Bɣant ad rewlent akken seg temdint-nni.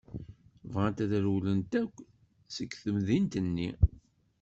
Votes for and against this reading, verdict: 1, 2, rejected